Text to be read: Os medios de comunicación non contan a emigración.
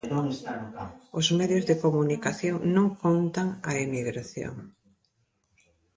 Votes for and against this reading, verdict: 1, 2, rejected